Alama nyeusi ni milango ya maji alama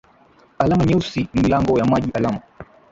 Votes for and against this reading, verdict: 0, 2, rejected